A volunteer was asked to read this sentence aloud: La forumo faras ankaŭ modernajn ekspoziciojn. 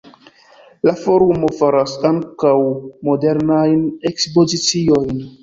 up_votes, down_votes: 1, 2